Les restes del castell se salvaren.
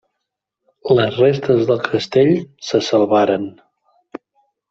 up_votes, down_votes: 3, 0